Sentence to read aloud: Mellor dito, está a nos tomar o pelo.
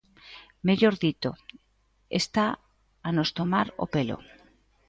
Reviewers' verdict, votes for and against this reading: accepted, 2, 0